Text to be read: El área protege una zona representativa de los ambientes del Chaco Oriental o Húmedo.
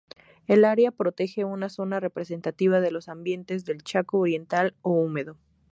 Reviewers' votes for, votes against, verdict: 2, 0, accepted